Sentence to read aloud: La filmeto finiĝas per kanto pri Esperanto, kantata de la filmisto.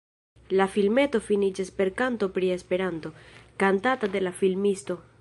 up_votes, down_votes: 3, 0